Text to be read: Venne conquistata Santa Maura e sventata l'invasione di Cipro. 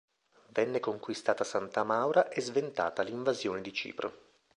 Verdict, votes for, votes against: accepted, 2, 0